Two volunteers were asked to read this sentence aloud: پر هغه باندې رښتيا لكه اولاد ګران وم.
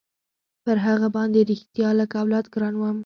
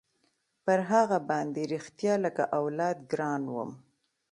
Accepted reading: second